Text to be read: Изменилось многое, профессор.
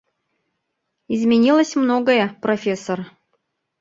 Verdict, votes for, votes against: rejected, 1, 2